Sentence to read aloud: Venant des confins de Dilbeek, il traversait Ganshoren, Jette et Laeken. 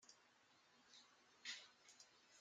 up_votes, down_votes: 0, 2